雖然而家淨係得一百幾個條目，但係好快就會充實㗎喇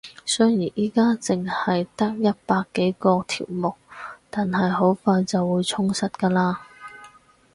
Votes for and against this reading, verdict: 2, 2, rejected